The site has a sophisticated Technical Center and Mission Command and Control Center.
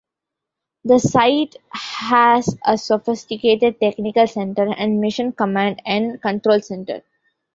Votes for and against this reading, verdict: 1, 2, rejected